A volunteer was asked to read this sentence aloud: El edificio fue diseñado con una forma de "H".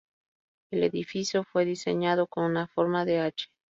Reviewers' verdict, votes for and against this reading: rejected, 0, 2